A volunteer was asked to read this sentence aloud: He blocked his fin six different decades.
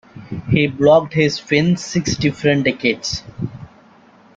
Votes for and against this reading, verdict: 2, 0, accepted